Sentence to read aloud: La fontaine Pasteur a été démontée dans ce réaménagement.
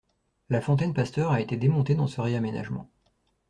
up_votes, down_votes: 2, 0